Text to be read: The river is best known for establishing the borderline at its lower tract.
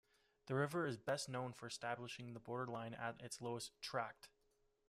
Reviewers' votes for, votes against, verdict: 0, 2, rejected